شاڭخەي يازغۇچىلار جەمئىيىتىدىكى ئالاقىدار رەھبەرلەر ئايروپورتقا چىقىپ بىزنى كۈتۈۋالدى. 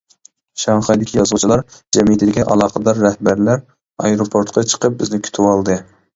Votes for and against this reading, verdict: 0, 2, rejected